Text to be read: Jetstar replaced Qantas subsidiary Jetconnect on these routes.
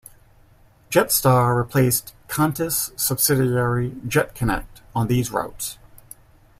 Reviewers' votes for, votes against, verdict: 1, 2, rejected